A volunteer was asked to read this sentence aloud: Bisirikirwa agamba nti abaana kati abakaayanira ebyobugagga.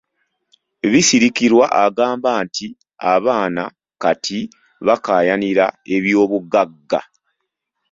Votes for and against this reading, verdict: 3, 1, accepted